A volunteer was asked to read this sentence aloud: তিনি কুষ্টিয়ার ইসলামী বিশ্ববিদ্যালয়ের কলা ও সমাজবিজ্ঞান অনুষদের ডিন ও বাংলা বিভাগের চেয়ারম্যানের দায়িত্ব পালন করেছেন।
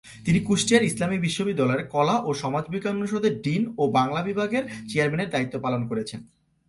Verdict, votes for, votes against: accepted, 2, 0